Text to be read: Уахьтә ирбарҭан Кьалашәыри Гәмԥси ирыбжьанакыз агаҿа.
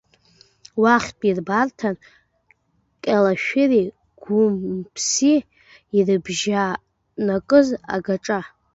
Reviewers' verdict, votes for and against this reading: rejected, 1, 2